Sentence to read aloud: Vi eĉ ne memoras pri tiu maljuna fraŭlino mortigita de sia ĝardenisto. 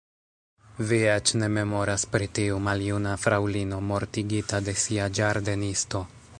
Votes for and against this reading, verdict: 2, 1, accepted